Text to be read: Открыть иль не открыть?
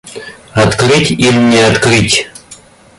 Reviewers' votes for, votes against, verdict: 1, 2, rejected